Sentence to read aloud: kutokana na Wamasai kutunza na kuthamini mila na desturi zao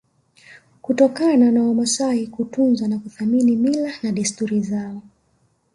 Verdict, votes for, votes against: accepted, 2, 0